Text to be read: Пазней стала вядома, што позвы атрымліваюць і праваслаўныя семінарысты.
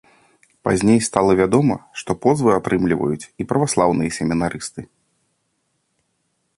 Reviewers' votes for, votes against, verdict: 2, 0, accepted